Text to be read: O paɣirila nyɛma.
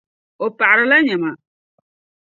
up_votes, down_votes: 2, 0